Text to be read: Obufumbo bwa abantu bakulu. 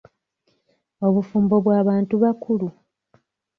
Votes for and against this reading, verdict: 1, 2, rejected